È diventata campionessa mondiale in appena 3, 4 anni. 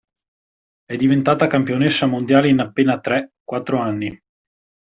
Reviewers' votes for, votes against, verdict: 0, 2, rejected